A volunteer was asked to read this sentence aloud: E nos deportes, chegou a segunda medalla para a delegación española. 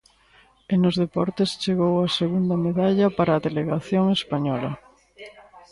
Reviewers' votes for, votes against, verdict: 1, 2, rejected